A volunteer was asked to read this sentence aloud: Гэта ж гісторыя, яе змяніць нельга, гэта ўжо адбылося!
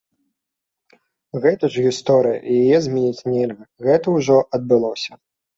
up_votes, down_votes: 2, 0